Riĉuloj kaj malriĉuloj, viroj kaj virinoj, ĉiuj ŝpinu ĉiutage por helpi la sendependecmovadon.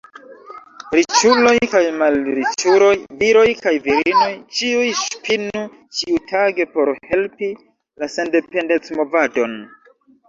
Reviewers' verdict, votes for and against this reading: rejected, 0, 2